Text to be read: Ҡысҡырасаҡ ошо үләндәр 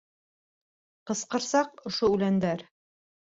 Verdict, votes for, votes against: rejected, 1, 2